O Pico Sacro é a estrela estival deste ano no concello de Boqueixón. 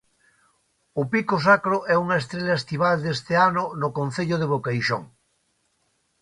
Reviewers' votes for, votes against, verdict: 1, 2, rejected